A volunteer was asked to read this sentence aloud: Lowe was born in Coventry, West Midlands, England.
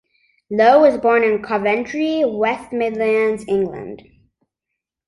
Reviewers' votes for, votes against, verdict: 2, 0, accepted